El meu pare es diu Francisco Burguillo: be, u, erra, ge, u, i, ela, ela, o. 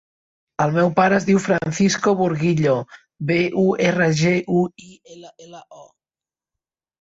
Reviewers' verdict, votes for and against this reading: rejected, 1, 2